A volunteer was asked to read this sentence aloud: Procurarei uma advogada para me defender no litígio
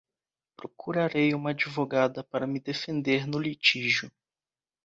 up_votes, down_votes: 2, 0